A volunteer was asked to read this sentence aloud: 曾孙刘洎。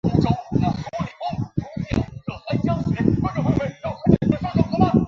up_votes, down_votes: 0, 2